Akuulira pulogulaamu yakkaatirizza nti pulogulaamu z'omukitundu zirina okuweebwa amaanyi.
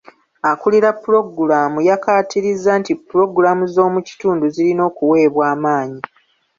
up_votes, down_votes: 2, 0